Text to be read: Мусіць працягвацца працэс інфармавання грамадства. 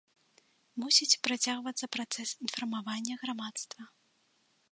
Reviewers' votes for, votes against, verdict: 2, 0, accepted